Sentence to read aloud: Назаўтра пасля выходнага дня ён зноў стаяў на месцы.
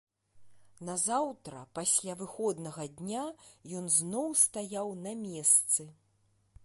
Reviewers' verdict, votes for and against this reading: accepted, 2, 0